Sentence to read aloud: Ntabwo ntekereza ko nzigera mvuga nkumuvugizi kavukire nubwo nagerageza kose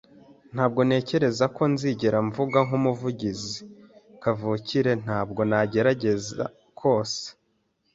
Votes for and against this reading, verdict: 0, 2, rejected